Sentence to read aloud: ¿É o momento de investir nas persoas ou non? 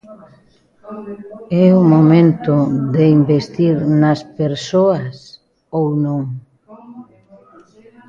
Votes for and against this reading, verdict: 0, 2, rejected